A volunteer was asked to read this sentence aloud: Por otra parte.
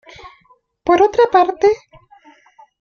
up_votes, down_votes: 2, 0